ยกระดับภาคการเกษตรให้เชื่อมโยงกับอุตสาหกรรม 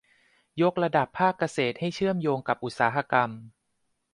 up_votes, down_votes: 0, 2